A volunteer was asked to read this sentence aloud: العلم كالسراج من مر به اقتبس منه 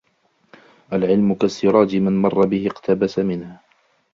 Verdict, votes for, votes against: accepted, 2, 0